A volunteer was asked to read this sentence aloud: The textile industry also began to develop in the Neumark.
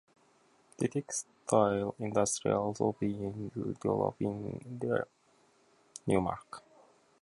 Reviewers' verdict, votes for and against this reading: rejected, 0, 2